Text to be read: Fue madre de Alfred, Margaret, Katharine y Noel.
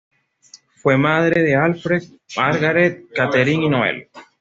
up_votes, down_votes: 1, 2